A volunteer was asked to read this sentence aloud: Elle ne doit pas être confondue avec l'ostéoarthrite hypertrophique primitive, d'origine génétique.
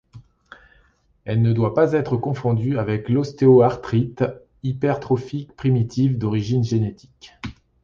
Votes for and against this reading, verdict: 2, 0, accepted